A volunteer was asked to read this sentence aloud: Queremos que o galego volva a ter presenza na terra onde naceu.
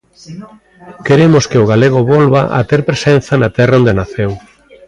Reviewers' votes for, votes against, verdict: 1, 2, rejected